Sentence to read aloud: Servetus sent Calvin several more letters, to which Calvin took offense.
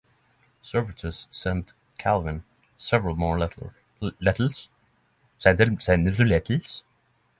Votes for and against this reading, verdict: 0, 6, rejected